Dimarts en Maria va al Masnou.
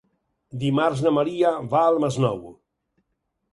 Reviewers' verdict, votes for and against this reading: rejected, 0, 4